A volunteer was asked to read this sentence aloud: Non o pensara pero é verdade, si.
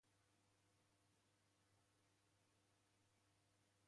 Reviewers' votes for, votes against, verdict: 0, 2, rejected